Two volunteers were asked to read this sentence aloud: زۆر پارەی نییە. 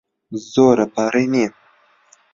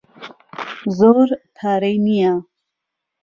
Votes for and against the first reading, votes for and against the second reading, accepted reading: 0, 2, 2, 0, second